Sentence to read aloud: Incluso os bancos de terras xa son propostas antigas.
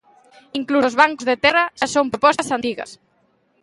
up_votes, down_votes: 0, 2